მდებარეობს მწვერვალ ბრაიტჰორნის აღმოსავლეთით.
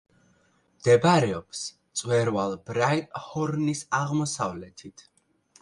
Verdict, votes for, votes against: accepted, 2, 0